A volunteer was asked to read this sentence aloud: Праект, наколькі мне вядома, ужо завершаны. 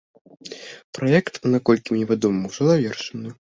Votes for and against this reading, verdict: 2, 0, accepted